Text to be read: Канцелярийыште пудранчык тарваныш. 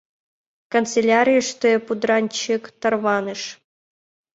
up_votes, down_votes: 2, 0